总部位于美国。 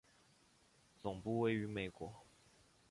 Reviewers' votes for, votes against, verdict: 1, 2, rejected